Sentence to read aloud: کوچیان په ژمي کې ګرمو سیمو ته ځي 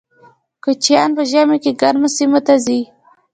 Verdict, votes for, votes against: accepted, 2, 0